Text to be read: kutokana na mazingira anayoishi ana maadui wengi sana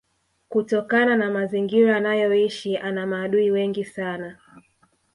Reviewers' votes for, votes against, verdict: 2, 0, accepted